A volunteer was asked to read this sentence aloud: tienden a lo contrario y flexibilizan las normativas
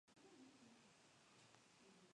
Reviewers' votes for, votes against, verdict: 0, 2, rejected